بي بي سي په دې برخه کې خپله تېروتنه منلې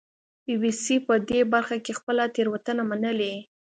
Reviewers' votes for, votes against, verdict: 2, 0, accepted